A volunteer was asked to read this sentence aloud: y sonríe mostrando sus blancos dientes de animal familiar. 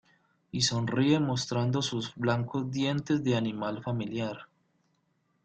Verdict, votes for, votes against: accepted, 2, 0